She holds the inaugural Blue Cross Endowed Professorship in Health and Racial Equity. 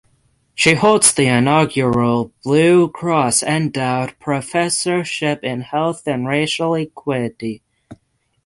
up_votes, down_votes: 6, 0